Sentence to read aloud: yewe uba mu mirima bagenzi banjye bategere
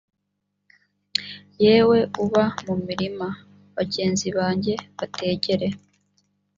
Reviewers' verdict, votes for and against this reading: accepted, 3, 0